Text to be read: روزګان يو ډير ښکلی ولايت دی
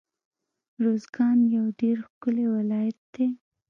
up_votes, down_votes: 1, 2